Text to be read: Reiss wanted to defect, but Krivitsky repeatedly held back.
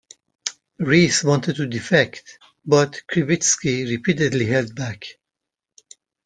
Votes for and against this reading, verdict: 2, 0, accepted